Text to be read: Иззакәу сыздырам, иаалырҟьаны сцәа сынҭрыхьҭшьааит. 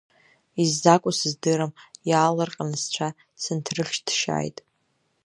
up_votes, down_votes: 2, 0